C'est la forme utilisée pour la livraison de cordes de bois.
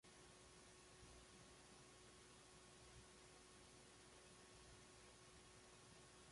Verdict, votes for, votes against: rejected, 0, 2